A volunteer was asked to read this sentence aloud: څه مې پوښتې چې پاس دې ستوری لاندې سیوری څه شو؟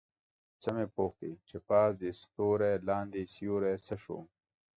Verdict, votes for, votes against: accepted, 3, 0